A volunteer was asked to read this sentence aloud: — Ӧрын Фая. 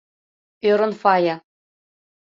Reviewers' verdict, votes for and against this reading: accepted, 2, 0